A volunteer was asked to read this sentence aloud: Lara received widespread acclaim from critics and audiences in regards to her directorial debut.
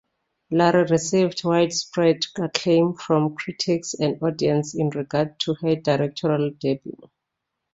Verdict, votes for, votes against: rejected, 1, 2